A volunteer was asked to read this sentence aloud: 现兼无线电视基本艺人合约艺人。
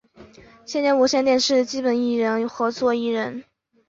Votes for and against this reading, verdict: 0, 4, rejected